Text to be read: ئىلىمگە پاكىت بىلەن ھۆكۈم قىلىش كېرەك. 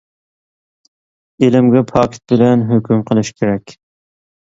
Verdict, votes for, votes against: accepted, 2, 0